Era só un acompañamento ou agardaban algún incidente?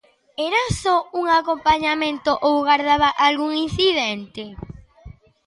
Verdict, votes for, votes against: rejected, 1, 2